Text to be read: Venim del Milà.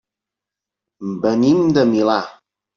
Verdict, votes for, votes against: rejected, 0, 2